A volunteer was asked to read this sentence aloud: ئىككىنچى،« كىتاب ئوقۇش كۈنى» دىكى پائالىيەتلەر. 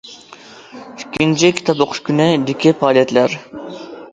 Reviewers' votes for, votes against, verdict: 2, 0, accepted